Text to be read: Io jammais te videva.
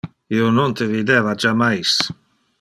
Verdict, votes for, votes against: rejected, 0, 2